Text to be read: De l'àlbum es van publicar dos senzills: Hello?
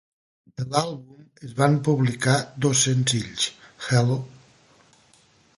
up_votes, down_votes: 1, 2